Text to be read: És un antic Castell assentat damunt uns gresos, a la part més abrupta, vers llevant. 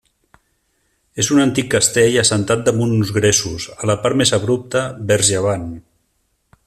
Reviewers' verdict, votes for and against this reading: rejected, 1, 2